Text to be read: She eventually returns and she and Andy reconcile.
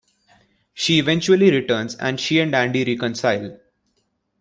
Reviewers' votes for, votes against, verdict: 2, 0, accepted